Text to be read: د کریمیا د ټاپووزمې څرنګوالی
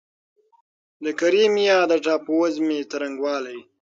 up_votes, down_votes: 6, 0